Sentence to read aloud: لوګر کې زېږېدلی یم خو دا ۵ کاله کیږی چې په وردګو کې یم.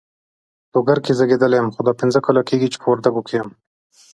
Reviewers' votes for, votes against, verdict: 0, 2, rejected